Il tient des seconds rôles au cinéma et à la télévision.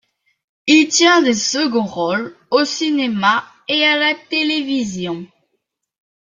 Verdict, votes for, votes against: accepted, 2, 0